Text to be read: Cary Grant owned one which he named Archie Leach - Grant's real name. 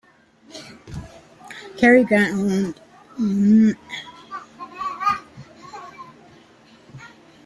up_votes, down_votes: 0, 2